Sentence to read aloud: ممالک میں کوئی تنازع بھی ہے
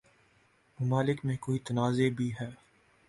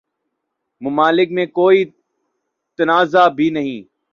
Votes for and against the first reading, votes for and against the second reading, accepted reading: 2, 0, 0, 2, first